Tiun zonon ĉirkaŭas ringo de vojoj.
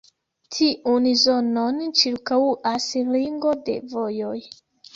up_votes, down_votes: 3, 2